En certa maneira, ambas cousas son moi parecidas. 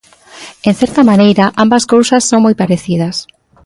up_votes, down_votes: 2, 0